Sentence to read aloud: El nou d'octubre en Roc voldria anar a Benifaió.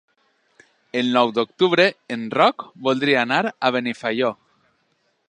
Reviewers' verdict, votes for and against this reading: accepted, 3, 0